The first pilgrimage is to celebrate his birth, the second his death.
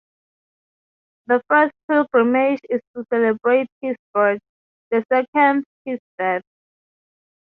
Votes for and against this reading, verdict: 3, 0, accepted